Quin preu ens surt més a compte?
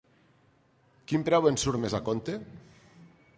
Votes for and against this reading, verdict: 2, 0, accepted